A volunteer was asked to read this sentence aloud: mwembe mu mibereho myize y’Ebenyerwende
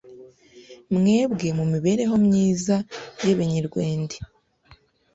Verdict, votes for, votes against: rejected, 1, 2